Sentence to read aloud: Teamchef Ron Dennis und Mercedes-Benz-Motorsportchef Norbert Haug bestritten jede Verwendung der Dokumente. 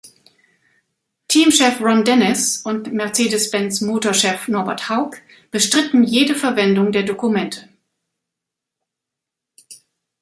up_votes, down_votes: 0, 2